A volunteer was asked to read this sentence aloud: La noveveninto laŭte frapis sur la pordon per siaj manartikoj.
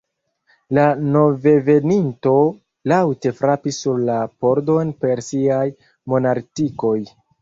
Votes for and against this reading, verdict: 1, 2, rejected